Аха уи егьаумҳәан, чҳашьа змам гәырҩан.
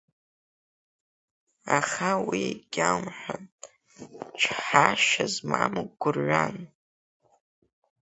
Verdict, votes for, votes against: accepted, 3, 1